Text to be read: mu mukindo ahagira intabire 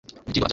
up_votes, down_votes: 0, 2